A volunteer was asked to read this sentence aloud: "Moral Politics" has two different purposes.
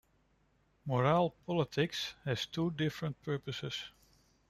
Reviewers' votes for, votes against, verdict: 2, 1, accepted